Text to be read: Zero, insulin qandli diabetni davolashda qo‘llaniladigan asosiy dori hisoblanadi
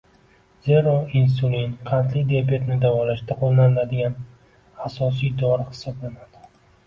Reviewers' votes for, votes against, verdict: 2, 0, accepted